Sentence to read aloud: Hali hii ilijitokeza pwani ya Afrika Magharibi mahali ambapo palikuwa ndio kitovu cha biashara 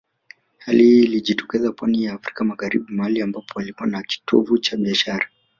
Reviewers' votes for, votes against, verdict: 0, 2, rejected